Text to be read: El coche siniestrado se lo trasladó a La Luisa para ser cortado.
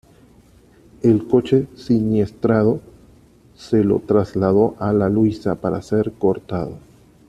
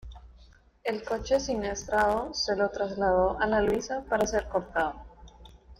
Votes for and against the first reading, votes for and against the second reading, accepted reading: 2, 1, 1, 2, first